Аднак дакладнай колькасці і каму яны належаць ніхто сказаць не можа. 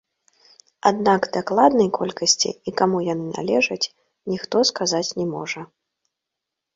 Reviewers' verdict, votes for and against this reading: rejected, 0, 2